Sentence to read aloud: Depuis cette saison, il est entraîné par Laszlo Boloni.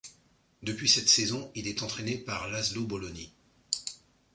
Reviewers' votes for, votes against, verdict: 2, 0, accepted